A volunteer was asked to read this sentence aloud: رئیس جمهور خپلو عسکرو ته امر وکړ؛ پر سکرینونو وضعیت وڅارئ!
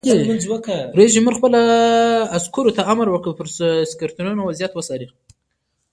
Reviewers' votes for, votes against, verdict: 0, 2, rejected